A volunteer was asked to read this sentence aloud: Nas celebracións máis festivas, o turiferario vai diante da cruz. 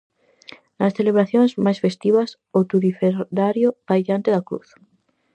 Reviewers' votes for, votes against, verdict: 0, 4, rejected